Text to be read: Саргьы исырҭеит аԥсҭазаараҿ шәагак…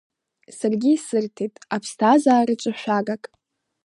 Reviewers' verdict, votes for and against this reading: accepted, 2, 0